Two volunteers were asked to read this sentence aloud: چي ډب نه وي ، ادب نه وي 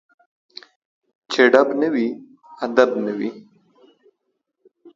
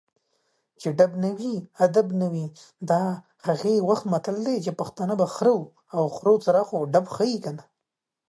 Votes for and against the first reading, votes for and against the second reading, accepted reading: 2, 0, 0, 2, first